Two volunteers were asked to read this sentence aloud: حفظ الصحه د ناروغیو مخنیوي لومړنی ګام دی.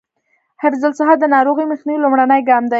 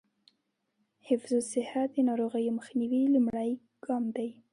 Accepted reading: second